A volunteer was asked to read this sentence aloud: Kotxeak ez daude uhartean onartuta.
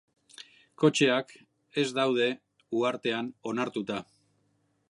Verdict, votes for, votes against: accepted, 2, 0